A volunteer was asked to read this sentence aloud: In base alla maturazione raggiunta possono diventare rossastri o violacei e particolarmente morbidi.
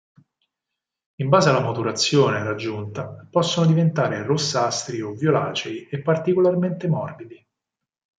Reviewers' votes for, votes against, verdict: 4, 0, accepted